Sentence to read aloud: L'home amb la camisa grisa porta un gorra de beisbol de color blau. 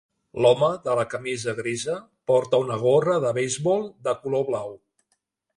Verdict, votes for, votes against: rejected, 0, 2